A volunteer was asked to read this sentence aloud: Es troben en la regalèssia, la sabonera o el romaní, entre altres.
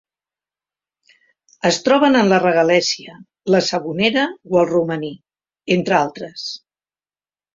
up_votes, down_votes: 3, 0